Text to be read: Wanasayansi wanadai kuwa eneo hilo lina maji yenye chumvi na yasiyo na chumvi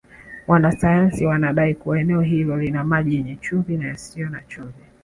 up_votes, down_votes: 1, 2